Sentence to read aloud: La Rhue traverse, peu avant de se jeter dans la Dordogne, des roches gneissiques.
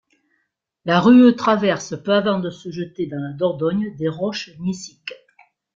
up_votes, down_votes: 1, 2